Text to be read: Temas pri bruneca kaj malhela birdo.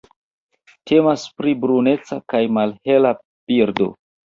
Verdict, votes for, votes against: accepted, 3, 1